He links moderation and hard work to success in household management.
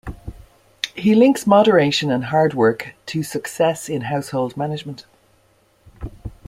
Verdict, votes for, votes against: accepted, 2, 0